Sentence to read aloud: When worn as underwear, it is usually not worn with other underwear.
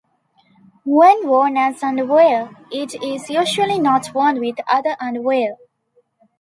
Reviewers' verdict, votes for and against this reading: accepted, 2, 0